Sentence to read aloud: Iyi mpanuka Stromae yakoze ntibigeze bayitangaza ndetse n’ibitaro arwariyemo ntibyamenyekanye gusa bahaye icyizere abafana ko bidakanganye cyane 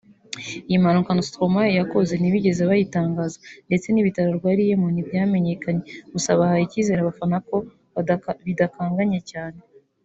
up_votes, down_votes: 0, 2